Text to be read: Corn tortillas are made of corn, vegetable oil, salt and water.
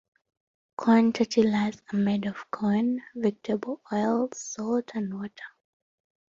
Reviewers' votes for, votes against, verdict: 2, 1, accepted